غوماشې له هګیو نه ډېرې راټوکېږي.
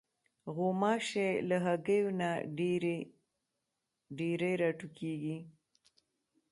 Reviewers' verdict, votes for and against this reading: accepted, 2, 0